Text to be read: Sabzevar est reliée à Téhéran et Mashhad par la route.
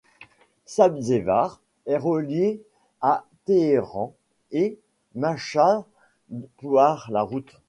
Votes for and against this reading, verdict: 2, 1, accepted